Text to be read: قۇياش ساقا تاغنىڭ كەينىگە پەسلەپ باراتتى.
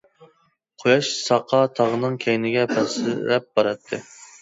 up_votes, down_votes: 0, 2